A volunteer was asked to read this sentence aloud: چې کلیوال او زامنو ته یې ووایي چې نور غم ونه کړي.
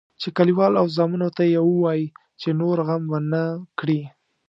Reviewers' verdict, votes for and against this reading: accepted, 2, 0